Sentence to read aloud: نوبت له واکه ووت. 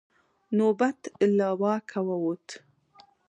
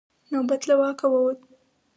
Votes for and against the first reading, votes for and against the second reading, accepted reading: 2, 0, 2, 4, first